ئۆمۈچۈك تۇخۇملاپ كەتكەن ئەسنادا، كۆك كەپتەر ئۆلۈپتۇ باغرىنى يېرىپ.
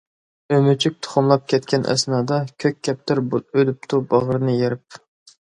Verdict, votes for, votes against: accepted, 2, 0